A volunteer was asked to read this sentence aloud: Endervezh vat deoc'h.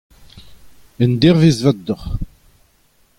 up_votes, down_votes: 2, 0